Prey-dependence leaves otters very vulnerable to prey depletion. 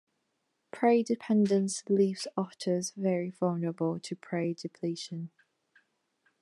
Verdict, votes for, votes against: accepted, 2, 0